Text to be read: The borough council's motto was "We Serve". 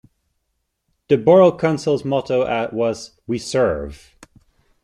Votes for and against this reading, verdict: 0, 2, rejected